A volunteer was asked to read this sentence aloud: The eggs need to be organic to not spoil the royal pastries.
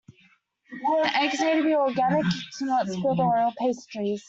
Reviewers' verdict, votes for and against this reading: rejected, 0, 2